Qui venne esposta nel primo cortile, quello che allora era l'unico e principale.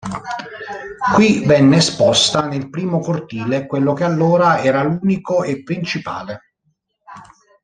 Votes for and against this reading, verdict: 1, 2, rejected